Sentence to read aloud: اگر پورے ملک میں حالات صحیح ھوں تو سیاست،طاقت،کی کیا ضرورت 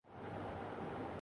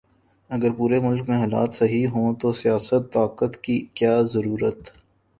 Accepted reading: second